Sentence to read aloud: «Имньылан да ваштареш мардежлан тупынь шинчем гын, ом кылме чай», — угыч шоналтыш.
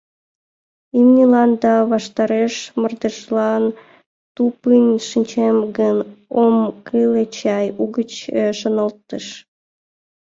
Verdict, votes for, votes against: rejected, 0, 2